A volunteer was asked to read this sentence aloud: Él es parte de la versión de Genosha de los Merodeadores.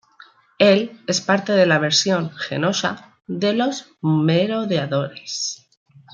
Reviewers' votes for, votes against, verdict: 1, 2, rejected